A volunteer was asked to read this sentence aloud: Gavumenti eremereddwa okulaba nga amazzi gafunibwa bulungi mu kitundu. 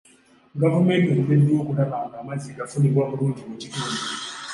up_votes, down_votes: 2, 0